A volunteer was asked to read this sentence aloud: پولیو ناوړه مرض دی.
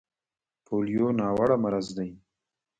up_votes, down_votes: 1, 2